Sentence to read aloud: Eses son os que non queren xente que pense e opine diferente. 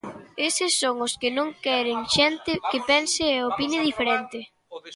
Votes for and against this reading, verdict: 0, 2, rejected